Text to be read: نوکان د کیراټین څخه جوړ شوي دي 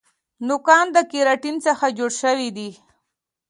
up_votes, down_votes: 2, 0